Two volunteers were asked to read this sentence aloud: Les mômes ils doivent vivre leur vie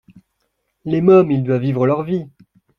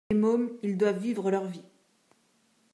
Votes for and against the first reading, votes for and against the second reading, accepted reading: 2, 0, 0, 2, first